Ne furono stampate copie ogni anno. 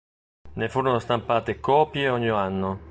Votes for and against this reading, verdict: 1, 2, rejected